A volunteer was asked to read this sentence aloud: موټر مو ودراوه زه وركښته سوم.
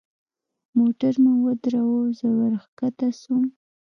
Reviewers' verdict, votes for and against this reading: rejected, 1, 2